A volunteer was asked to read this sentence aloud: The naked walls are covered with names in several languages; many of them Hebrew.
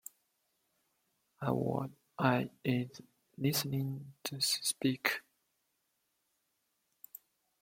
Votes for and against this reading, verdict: 0, 2, rejected